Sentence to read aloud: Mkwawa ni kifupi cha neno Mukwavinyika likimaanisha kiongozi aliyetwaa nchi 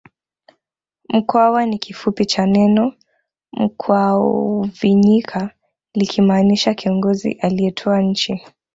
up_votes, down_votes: 1, 2